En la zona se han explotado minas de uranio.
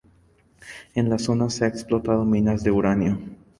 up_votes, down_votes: 0, 2